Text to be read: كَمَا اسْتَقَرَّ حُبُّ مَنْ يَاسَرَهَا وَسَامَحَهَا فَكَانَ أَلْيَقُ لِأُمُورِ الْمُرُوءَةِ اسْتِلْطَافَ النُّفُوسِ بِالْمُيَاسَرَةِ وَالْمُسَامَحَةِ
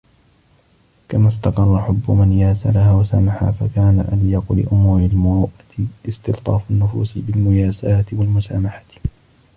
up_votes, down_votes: 0, 2